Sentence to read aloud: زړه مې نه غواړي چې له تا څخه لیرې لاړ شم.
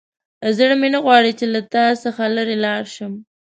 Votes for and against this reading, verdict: 2, 0, accepted